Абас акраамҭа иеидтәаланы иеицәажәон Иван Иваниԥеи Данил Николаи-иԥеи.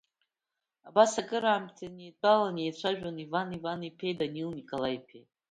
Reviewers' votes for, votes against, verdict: 2, 1, accepted